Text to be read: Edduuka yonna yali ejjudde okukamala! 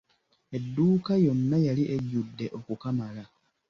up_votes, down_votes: 2, 0